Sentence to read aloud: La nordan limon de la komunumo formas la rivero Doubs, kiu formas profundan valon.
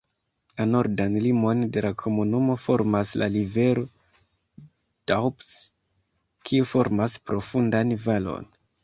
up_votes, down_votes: 2, 0